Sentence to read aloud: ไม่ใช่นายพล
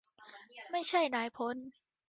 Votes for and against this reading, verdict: 2, 1, accepted